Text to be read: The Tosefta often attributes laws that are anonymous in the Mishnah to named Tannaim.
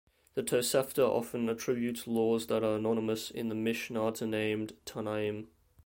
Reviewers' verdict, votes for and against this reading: rejected, 1, 2